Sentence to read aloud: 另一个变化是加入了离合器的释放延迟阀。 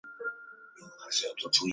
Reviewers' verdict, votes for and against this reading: rejected, 3, 4